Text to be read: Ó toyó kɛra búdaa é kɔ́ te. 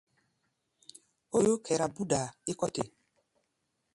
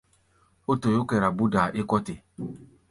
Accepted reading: second